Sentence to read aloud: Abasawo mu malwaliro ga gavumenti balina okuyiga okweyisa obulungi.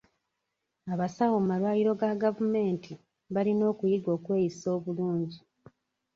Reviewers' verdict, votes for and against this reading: accepted, 2, 0